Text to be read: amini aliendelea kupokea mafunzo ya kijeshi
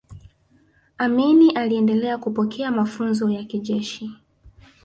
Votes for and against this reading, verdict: 0, 2, rejected